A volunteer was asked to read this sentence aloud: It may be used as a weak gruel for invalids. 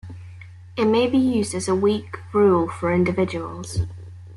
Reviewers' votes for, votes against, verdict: 0, 2, rejected